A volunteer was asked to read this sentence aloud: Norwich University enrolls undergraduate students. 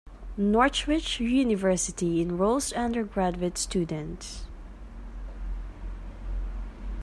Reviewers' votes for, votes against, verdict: 0, 2, rejected